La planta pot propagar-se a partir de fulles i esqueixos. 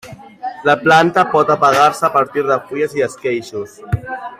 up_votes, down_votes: 0, 2